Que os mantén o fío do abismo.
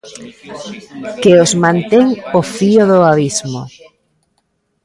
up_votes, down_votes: 1, 2